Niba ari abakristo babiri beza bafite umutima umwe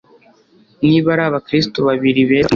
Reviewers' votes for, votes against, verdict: 1, 2, rejected